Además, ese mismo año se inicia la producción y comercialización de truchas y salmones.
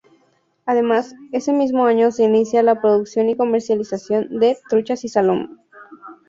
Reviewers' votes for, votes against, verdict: 0, 4, rejected